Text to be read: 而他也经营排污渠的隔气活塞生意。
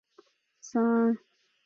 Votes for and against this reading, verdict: 0, 3, rejected